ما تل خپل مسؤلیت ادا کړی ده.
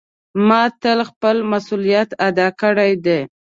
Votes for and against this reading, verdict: 2, 1, accepted